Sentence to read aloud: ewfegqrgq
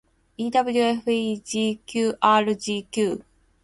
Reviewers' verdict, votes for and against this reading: accepted, 4, 0